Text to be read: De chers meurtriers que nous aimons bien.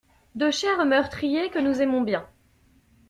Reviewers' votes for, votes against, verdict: 2, 0, accepted